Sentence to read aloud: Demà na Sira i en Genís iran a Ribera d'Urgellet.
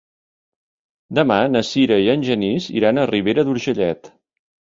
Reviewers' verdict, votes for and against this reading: accepted, 4, 0